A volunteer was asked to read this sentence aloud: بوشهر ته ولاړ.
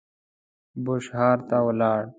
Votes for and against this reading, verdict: 0, 2, rejected